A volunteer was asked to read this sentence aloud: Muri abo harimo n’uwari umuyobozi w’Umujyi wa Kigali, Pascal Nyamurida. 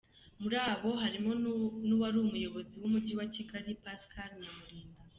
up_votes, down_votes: 2, 0